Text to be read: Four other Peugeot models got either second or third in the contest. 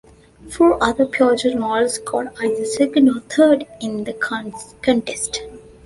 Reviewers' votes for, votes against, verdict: 0, 2, rejected